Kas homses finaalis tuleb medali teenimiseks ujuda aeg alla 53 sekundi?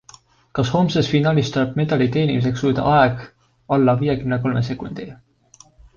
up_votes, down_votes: 0, 2